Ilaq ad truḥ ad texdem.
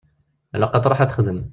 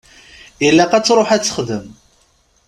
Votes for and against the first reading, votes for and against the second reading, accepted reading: 0, 2, 2, 0, second